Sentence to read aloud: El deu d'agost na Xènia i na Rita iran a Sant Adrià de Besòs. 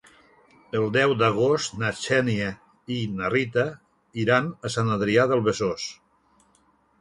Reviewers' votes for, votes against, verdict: 2, 3, rejected